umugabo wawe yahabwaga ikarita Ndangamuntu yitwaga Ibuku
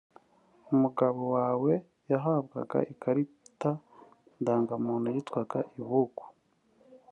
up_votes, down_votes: 2, 0